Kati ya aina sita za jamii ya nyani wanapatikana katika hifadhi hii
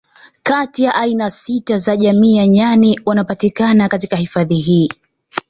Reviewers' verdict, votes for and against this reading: accepted, 2, 1